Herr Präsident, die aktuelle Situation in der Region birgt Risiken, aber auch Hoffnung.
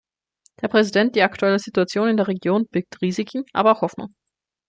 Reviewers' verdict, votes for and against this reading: accepted, 2, 0